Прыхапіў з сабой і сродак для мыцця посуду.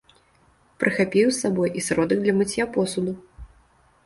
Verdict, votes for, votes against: rejected, 0, 2